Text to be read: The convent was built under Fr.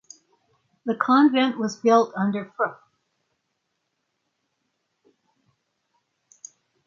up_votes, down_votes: 3, 6